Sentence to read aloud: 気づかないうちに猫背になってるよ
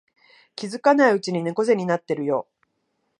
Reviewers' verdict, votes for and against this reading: accepted, 2, 0